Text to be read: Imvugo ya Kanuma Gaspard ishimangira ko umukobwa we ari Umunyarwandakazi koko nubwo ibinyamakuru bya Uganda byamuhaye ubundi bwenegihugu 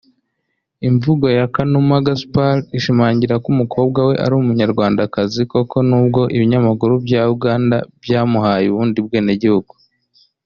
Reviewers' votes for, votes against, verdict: 2, 0, accepted